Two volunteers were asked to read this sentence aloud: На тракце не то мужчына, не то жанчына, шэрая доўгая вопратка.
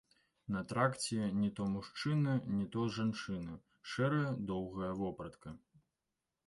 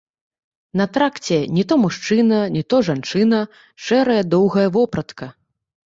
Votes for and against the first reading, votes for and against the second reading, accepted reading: 2, 1, 1, 2, first